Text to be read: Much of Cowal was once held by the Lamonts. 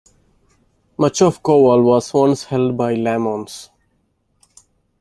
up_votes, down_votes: 1, 2